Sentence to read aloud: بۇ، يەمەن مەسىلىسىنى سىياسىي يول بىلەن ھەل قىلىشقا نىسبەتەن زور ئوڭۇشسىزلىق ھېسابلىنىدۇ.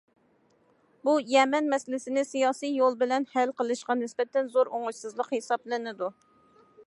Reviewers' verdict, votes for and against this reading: accepted, 2, 0